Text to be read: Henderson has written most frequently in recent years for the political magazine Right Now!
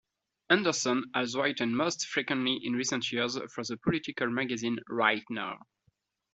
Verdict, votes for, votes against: accepted, 2, 1